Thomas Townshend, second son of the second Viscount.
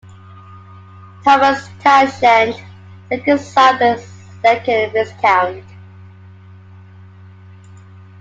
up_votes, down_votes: 1, 2